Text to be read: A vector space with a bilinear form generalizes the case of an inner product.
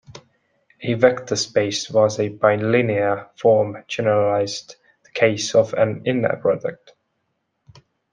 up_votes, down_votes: 0, 2